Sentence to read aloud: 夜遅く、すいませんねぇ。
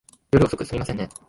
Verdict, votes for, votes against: rejected, 1, 2